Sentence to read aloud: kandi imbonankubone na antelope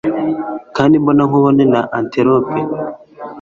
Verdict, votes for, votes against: rejected, 1, 2